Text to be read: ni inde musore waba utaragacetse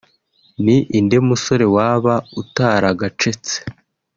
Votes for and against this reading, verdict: 2, 0, accepted